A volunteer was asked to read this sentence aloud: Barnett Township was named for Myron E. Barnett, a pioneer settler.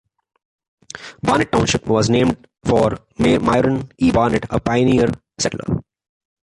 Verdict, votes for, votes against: accepted, 2, 0